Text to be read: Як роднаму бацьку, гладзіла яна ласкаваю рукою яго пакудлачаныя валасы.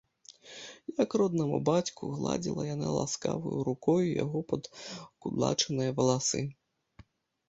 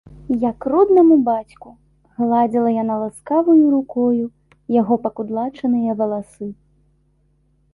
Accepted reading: second